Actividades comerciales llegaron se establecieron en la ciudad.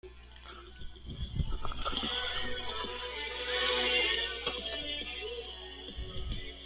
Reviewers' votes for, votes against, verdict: 0, 2, rejected